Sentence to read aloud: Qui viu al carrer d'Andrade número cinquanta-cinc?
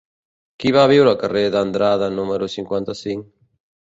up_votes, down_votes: 1, 2